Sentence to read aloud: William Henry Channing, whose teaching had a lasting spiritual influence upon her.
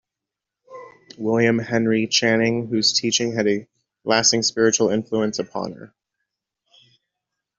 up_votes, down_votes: 2, 0